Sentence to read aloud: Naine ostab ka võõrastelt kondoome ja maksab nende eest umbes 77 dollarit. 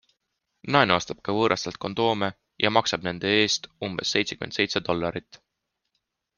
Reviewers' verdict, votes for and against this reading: rejected, 0, 2